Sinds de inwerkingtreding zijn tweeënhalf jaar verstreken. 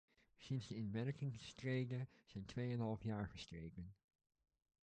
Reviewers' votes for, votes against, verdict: 0, 2, rejected